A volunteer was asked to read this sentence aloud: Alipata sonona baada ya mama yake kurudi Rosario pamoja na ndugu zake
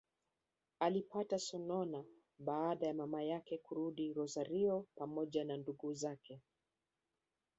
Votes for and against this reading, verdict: 1, 2, rejected